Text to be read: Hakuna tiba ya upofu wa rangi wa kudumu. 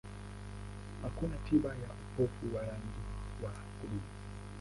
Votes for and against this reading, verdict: 0, 2, rejected